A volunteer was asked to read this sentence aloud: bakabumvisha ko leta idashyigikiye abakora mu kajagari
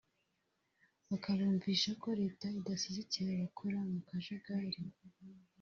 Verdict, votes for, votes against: rejected, 1, 2